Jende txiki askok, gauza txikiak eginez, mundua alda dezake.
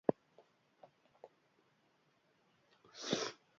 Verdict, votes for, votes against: rejected, 0, 3